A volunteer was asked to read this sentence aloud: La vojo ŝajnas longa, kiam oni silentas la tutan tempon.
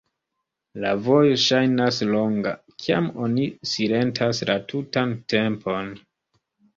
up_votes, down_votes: 2, 0